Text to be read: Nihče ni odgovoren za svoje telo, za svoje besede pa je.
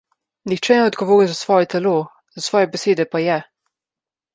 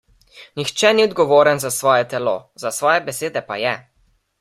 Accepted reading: second